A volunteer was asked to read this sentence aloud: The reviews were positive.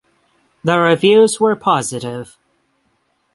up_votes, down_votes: 3, 3